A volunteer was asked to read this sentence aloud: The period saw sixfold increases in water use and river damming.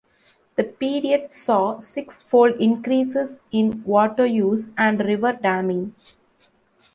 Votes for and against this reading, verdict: 2, 0, accepted